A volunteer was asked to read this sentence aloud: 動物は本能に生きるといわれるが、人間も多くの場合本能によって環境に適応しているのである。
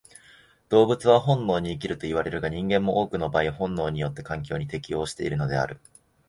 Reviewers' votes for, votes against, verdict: 2, 0, accepted